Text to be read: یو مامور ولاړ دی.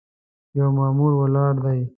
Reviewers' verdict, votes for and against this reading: accepted, 2, 0